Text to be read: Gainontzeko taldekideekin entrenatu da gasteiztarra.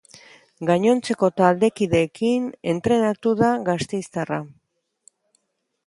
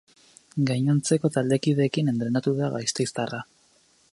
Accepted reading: first